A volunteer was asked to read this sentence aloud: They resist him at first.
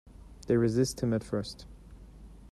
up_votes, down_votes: 2, 0